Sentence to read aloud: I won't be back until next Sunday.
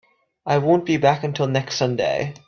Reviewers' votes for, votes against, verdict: 2, 0, accepted